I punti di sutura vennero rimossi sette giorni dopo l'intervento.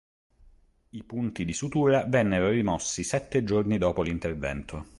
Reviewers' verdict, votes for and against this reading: accepted, 2, 0